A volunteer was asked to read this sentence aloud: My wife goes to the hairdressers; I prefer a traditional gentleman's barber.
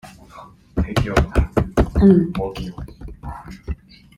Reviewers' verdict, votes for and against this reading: rejected, 0, 2